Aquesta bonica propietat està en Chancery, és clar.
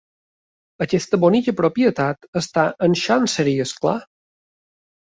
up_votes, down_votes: 2, 1